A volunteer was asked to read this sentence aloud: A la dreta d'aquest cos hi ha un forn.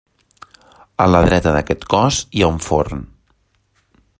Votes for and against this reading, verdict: 2, 0, accepted